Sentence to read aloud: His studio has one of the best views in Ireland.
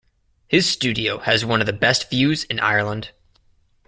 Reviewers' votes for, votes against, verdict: 2, 0, accepted